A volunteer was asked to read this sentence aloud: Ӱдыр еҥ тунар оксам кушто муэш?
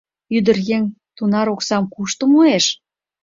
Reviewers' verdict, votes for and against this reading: accepted, 2, 0